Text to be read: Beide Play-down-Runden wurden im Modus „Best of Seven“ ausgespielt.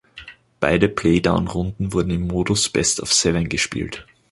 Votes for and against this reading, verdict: 0, 2, rejected